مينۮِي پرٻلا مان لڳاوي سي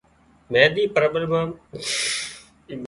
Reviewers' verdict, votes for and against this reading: rejected, 0, 2